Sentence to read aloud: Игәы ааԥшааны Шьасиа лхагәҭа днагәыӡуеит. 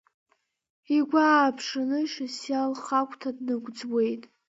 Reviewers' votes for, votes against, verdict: 2, 0, accepted